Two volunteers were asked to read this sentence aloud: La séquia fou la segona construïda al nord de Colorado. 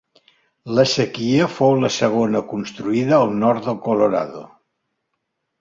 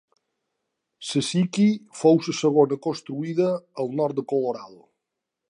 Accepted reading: second